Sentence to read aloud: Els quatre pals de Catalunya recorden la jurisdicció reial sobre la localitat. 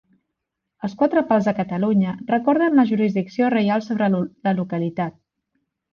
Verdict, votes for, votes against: rejected, 1, 2